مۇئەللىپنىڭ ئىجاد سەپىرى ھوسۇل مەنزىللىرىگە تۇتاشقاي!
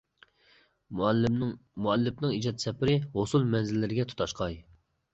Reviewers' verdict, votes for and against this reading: rejected, 1, 2